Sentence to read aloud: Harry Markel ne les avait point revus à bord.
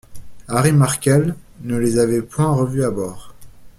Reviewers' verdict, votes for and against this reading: accepted, 2, 0